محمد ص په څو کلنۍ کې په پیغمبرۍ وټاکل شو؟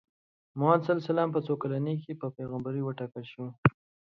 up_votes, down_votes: 3, 0